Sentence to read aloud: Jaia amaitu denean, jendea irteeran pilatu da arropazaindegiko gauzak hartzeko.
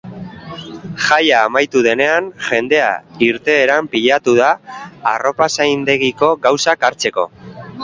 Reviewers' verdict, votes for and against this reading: accepted, 4, 3